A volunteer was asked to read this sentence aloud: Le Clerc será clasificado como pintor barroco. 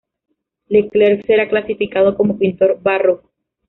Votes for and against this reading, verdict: 0, 2, rejected